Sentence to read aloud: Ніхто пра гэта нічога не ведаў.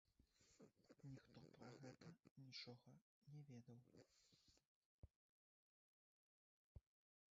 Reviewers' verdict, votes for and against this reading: rejected, 1, 3